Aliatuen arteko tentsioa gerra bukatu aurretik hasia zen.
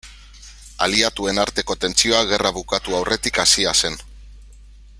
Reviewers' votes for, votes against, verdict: 2, 1, accepted